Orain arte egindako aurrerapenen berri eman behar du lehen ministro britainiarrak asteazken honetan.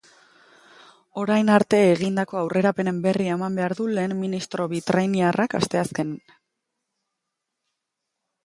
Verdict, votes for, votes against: rejected, 0, 2